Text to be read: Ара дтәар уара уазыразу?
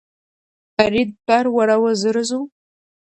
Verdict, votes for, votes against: rejected, 0, 2